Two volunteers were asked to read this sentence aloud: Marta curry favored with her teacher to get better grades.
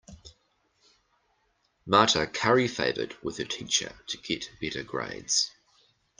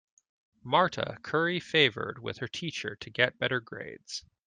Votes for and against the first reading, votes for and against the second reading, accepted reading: 0, 2, 2, 0, second